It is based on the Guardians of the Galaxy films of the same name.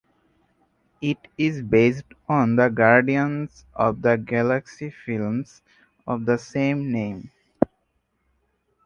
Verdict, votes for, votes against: accepted, 4, 0